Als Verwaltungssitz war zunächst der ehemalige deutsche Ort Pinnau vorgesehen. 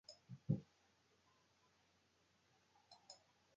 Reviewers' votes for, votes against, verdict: 0, 2, rejected